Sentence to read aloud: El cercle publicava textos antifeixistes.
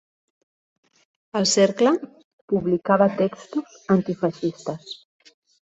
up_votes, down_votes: 0, 2